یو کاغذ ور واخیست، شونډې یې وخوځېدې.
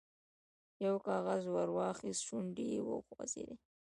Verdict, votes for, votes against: accepted, 2, 1